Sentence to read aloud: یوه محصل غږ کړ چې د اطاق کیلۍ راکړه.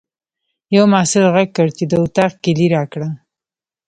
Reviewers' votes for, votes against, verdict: 1, 2, rejected